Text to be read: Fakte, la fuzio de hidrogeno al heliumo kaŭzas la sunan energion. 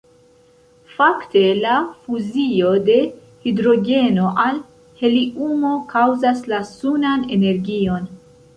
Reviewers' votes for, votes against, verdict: 1, 2, rejected